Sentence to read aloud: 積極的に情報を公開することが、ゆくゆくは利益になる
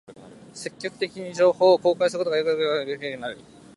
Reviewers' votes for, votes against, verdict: 2, 3, rejected